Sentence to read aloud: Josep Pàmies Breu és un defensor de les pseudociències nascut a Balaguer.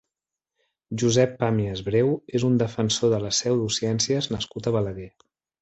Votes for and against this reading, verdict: 3, 0, accepted